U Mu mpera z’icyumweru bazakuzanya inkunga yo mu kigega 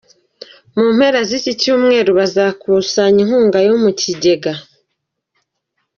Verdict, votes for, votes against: accepted, 2, 0